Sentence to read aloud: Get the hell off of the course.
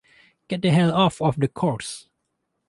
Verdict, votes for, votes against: rejected, 0, 2